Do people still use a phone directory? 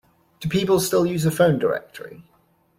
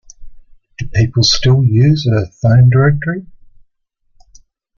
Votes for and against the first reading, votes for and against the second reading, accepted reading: 2, 0, 0, 2, first